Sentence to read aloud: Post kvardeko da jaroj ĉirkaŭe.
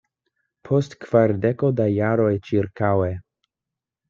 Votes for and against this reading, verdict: 2, 0, accepted